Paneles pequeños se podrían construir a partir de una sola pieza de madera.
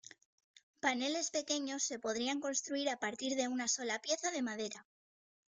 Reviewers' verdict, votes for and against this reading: rejected, 1, 2